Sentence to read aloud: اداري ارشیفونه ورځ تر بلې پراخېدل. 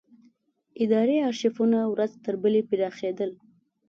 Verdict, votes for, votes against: accepted, 2, 0